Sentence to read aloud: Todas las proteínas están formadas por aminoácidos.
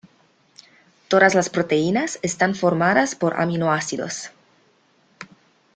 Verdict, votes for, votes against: accepted, 2, 1